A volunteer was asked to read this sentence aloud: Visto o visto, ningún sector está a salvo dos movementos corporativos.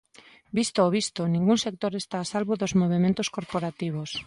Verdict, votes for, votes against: accepted, 2, 0